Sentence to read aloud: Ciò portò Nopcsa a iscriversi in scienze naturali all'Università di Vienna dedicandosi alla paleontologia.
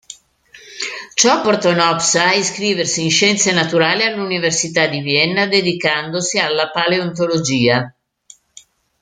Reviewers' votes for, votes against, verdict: 2, 0, accepted